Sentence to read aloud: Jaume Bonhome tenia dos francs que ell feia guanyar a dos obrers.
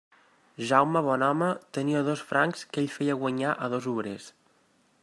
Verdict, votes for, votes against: accepted, 3, 0